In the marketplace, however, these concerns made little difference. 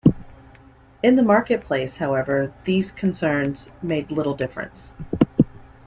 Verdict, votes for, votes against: accepted, 2, 0